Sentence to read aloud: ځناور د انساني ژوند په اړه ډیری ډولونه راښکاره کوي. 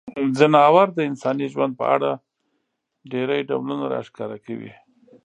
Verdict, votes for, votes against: accepted, 2, 1